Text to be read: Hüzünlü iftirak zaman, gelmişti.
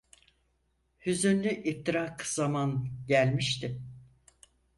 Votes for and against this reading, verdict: 4, 0, accepted